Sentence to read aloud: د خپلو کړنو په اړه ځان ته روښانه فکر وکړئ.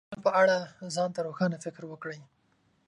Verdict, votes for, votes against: rejected, 4, 6